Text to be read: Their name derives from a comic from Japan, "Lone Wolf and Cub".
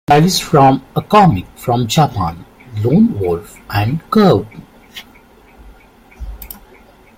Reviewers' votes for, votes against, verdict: 0, 3, rejected